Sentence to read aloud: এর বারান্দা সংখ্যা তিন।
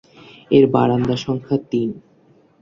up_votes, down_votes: 3, 0